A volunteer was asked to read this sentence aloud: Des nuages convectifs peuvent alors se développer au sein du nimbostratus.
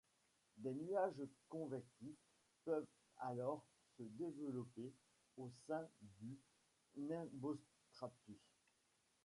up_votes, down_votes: 1, 2